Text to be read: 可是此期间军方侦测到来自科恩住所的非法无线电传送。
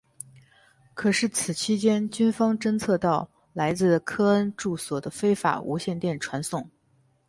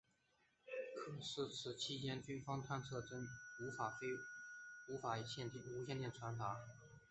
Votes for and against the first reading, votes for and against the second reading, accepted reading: 4, 0, 1, 3, first